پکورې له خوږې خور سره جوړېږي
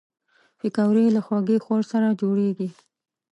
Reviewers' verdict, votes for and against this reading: accepted, 2, 0